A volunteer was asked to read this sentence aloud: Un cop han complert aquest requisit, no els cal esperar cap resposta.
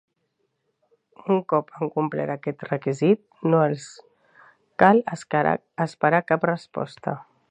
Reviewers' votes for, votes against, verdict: 1, 2, rejected